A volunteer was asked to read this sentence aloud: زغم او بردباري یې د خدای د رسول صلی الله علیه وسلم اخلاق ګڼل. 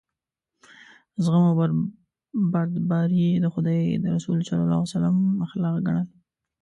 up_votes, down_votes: 0, 2